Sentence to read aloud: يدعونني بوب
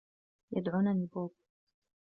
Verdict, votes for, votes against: rejected, 1, 2